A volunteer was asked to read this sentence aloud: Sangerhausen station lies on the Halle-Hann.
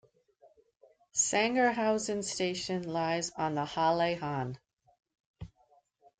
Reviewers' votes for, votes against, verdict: 2, 0, accepted